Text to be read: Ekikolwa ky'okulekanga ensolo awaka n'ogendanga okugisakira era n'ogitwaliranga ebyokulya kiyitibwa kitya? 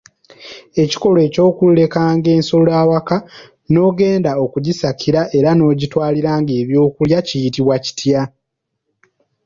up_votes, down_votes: 2, 0